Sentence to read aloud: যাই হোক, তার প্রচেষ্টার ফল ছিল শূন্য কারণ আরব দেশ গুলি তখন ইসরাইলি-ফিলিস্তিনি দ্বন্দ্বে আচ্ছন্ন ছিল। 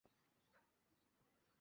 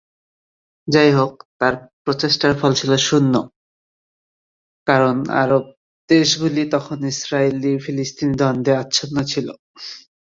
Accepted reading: second